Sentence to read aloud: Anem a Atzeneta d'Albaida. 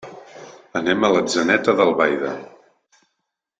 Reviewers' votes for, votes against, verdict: 0, 2, rejected